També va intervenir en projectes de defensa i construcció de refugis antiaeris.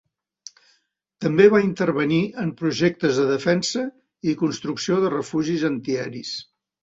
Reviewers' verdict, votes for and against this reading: accepted, 2, 0